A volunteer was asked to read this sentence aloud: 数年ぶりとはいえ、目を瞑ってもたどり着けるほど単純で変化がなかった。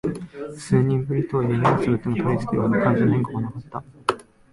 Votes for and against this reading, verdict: 5, 8, rejected